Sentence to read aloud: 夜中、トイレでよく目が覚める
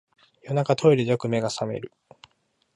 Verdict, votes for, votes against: accepted, 2, 0